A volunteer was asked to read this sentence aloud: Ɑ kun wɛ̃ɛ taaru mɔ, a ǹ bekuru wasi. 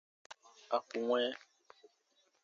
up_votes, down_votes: 0, 2